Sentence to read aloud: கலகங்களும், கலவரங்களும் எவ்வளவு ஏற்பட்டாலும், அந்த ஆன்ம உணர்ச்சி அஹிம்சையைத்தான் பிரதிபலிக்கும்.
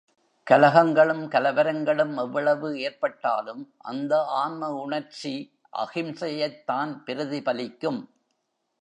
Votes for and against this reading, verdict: 2, 0, accepted